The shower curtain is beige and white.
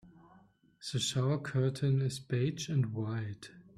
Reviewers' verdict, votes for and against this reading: rejected, 1, 2